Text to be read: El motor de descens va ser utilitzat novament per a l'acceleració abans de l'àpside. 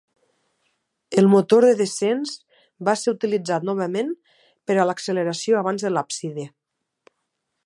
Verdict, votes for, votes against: accepted, 2, 0